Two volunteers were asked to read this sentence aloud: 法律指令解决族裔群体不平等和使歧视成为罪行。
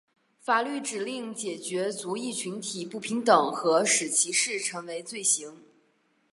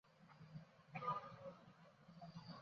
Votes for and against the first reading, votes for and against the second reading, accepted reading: 6, 0, 0, 5, first